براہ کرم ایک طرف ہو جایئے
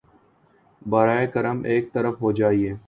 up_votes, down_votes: 2, 0